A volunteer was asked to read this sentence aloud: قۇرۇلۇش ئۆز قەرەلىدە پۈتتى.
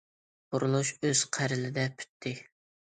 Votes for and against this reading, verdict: 1, 2, rejected